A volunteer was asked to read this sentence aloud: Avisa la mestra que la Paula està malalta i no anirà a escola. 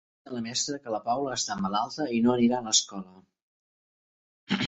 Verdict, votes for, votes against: rejected, 0, 2